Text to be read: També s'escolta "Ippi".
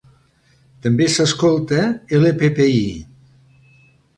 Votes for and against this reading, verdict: 1, 2, rejected